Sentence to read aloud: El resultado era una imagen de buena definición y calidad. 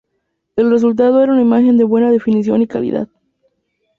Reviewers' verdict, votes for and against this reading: accepted, 2, 0